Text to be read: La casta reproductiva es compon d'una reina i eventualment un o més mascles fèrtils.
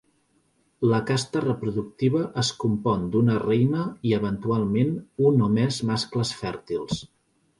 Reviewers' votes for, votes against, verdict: 2, 0, accepted